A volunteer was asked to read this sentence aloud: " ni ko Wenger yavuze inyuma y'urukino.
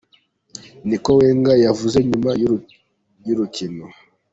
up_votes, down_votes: 1, 2